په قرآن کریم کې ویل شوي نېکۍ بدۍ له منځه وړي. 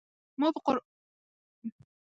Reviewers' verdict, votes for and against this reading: rejected, 0, 2